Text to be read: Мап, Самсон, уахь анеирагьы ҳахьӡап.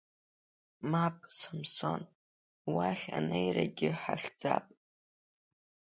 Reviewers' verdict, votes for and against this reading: accepted, 3, 0